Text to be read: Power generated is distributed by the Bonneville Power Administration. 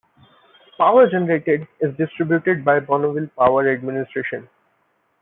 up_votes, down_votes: 2, 0